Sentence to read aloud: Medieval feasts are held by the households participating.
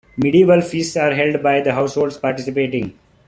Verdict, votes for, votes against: accepted, 2, 0